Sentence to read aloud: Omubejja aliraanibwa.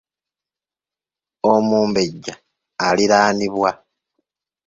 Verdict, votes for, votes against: accepted, 2, 0